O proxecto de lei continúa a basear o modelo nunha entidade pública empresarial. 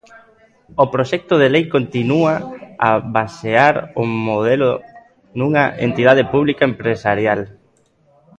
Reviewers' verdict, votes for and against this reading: accepted, 2, 0